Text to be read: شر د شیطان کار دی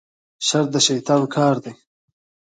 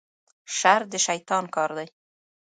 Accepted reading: first